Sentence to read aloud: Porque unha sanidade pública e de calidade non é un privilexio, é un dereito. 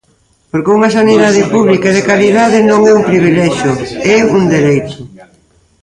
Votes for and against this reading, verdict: 1, 2, rejected